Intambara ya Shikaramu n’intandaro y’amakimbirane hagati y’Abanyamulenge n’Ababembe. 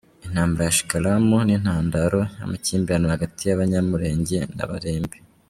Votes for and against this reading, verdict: 1, 2, rejected